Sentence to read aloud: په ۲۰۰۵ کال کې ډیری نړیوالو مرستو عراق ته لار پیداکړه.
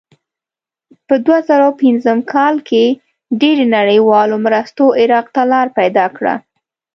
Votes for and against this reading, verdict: 0, 2, rejected